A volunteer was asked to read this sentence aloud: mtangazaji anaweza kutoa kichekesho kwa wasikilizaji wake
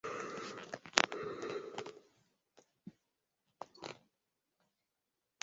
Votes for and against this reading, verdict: 0, 2, rejected